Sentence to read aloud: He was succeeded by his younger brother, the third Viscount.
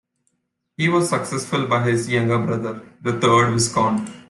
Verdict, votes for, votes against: rejected, 0, 2